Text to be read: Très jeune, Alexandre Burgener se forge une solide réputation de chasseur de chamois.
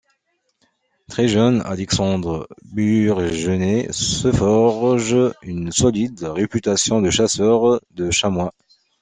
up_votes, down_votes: 2, 0